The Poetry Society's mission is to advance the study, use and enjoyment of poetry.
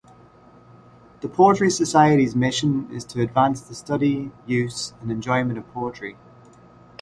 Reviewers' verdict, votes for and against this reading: accepted, 2, 0